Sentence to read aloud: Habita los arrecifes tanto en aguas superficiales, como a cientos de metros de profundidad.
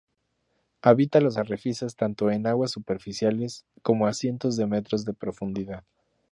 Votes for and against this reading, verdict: 2, 0, accepted